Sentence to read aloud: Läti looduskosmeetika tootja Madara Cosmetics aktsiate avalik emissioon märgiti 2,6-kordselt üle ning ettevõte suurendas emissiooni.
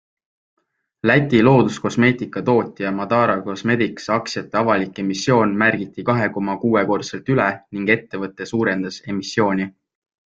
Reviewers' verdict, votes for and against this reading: rejected, 0, 2